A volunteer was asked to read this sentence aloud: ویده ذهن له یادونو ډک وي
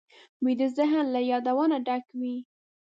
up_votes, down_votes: 0, 2